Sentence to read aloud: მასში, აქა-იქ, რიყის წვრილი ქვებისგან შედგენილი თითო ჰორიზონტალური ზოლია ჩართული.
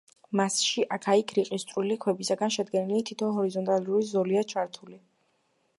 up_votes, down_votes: 1, 2